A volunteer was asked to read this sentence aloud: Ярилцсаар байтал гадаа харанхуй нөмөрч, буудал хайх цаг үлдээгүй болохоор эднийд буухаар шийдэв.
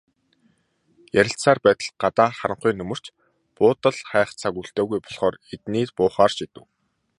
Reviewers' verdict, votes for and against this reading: accepted, 2, 0